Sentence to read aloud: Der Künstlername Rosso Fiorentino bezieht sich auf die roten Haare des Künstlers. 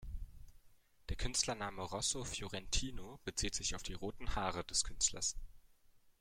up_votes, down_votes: 2, 0